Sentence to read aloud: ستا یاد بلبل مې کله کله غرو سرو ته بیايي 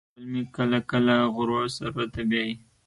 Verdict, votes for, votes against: rejected, 1, 2